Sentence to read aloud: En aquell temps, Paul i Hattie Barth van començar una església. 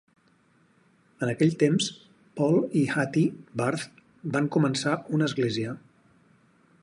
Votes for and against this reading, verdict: 4, 0, accepted